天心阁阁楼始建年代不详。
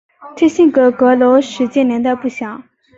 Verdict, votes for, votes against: accepted, 3, 0